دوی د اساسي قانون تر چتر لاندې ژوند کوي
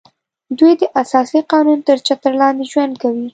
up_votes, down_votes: 2, 0